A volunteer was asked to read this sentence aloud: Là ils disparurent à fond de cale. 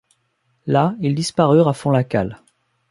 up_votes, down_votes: 0, 2